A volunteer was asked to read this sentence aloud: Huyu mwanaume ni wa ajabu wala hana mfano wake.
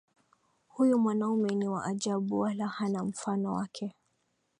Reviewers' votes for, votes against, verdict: 2, 0, accepted